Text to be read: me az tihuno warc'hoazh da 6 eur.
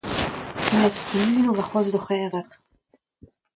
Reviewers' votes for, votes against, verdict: 0, 2, rejected